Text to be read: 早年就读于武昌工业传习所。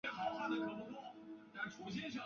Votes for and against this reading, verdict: 0, 4, rejected